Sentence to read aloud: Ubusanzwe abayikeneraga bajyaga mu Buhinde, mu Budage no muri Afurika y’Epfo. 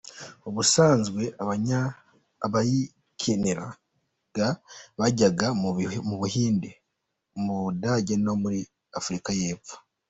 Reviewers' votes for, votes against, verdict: 0, 2, rejected